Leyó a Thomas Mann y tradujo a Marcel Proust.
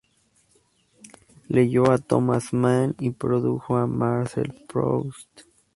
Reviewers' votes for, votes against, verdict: 2, 0, accepted